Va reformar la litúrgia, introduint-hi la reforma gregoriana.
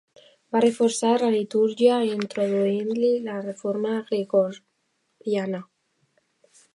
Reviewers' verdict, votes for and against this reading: rejected, 1, 2